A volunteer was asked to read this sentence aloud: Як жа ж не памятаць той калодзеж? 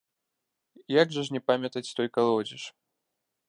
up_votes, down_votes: 1, 2